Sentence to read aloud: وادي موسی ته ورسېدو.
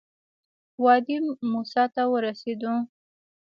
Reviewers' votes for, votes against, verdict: 1, 2, rejected